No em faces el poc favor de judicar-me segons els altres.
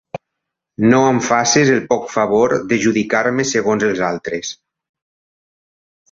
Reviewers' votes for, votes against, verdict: 2, 0, accepted